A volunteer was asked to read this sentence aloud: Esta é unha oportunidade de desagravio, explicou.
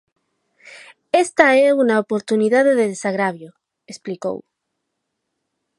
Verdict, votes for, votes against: rejected, 2, 4